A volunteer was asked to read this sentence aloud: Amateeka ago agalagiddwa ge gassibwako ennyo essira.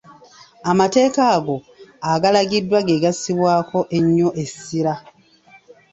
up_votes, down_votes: 1, 2